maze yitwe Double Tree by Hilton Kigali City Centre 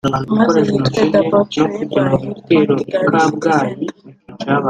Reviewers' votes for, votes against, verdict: 0, 2, rejected